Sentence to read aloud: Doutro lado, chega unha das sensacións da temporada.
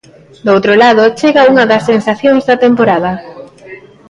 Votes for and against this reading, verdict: 3, 0, accepted